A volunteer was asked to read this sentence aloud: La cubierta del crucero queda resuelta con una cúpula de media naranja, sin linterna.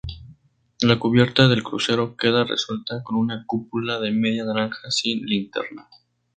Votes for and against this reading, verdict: 2, 2, rejected